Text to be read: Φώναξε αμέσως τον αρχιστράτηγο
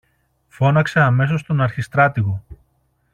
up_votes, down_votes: 2, 0